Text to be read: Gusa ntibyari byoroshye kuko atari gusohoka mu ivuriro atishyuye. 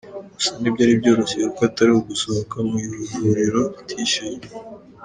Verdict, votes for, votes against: accepted, 2, 1